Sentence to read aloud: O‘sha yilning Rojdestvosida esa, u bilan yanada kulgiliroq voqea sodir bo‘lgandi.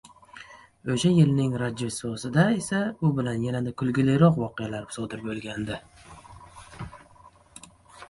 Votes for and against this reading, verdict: 0, 2, rejected